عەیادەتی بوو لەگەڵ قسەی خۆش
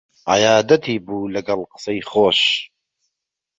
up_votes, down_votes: 3, 0